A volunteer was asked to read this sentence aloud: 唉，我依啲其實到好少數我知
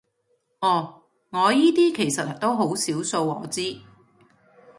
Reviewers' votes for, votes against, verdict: 1, 2, rejected